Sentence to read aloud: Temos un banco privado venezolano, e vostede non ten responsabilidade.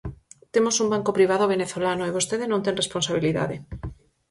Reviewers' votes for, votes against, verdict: 4, 0, accepted